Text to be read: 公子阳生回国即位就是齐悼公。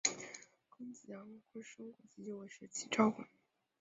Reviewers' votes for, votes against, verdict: 0, 3, rejected